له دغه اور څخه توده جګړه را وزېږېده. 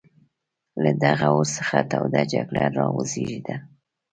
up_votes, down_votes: 2, 0